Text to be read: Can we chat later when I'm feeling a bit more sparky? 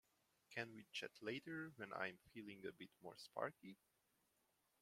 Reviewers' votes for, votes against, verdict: 2, 0, accepted